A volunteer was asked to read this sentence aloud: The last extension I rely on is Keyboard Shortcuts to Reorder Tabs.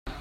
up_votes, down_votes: 0, 2